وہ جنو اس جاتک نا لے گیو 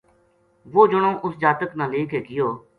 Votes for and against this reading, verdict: 2, 0, accepted